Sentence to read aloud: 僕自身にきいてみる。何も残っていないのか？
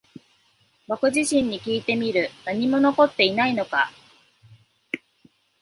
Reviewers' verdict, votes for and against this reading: accepted, 2, 0